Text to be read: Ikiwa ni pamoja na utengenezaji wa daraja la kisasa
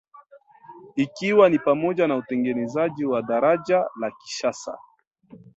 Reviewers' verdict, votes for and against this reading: rejected, 1, 2